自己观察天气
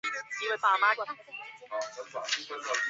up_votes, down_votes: 1, 2